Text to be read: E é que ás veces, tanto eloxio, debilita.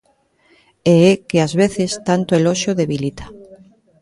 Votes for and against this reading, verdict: 1, 2, rejected